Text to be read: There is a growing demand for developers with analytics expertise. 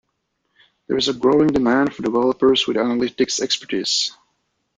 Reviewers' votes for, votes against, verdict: 2, 0, accepted